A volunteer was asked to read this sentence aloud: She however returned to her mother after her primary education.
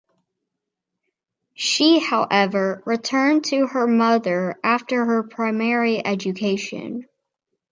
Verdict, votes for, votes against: accepted, 2, 0